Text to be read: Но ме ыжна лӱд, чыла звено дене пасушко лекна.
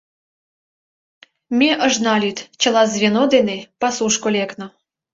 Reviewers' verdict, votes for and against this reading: rejected, 0, 2